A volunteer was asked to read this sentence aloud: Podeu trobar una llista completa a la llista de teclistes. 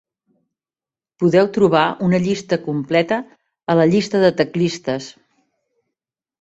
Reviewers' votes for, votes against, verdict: 3, 0, accepted